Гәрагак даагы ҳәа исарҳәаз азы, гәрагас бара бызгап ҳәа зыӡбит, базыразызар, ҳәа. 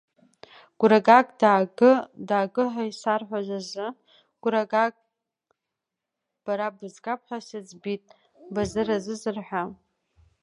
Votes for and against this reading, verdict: 0, 2, rejected